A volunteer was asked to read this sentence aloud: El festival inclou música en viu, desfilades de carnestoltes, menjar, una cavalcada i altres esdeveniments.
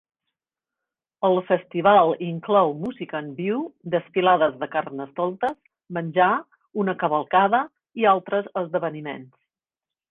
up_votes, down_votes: 3, 0